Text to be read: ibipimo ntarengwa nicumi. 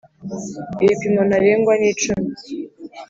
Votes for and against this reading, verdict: 2, 0, accepted